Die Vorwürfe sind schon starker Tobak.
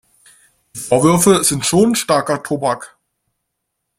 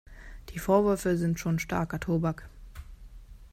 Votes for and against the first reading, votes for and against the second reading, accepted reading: 1, 2, 2, 0, second